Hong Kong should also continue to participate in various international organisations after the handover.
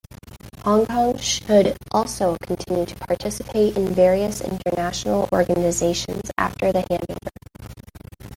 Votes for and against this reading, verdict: 1, 2, rejected